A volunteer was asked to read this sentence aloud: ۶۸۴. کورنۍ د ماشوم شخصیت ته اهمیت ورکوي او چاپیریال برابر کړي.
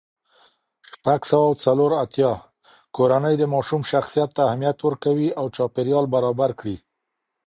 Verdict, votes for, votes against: rejected, 0, 2